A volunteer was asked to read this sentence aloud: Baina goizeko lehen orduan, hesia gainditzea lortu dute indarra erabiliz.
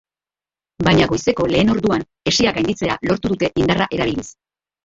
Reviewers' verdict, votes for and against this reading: rejected, 0, 2